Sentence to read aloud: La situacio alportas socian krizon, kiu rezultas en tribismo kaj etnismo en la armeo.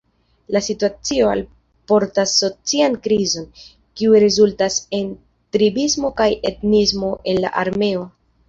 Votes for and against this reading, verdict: 2, 0, accepted